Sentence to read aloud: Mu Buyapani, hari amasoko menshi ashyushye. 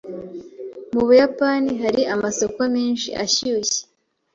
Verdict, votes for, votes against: accepted, 3, 0